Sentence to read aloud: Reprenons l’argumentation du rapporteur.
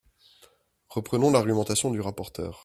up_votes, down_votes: 2, 0